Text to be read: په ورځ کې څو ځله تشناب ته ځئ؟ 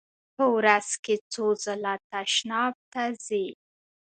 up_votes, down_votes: 2, 0